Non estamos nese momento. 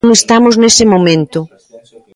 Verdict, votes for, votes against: rejected, 1, 2